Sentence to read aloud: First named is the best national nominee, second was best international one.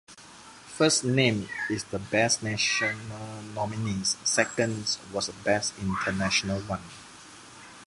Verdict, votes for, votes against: rejected, 1, 2